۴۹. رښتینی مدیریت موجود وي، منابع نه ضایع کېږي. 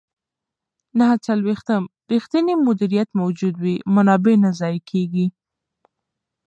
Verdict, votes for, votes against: rejected, 0, 2